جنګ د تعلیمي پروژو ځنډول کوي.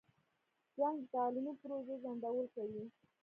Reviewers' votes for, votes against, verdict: 0, 2, rejected